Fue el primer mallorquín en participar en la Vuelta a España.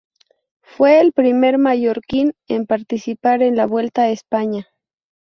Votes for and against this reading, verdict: 6, 0, accepted